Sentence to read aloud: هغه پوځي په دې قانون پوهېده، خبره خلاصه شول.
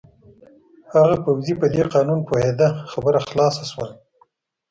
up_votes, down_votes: 0, 2